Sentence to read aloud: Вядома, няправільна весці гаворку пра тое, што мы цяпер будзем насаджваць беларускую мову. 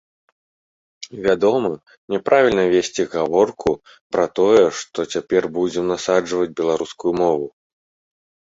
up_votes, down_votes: 1, 2